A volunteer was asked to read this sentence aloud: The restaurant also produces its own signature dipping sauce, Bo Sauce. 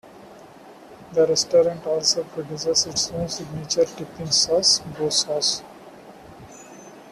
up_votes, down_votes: 3, 2